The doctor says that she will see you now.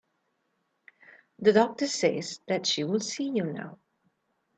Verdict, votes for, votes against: accepted, 2, 0